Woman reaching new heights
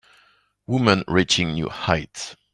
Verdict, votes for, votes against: accepted, 2, 0